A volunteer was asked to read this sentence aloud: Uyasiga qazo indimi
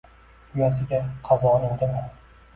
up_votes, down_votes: 1, 2